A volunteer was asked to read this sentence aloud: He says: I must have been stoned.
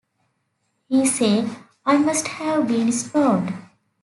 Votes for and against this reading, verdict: 2, 1, accepted